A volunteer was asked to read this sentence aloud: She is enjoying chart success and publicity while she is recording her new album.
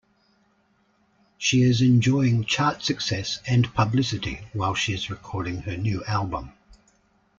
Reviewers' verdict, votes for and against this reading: accepted, 2, 0